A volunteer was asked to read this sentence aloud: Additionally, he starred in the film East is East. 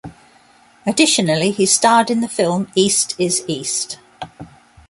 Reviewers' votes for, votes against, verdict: 2, 0, accepted